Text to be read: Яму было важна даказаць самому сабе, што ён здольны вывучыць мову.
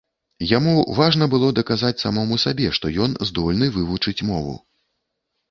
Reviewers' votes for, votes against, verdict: 1, 2, rejected